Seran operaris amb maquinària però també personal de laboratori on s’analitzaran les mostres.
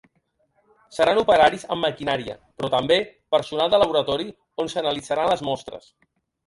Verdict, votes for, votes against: accepted, 2, 0